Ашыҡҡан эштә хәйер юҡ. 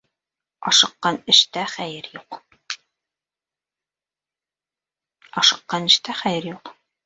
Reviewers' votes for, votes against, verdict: 1, 2, rejected